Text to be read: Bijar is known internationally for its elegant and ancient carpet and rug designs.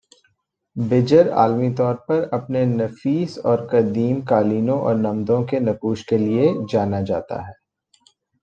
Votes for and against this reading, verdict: 1, 2, rejected